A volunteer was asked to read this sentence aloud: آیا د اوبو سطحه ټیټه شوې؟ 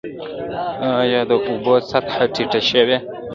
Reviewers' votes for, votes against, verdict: 2, 1, accepted